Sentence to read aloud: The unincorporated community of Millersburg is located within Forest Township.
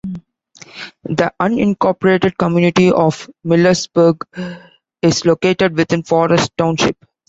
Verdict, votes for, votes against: accepted, 2, 0